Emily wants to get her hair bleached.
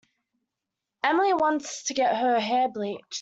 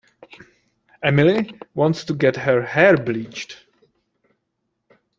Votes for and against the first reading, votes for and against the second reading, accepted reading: 1, 2, 2, 0, second